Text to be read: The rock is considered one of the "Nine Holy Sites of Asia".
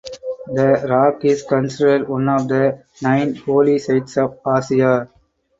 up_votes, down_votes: 4, 2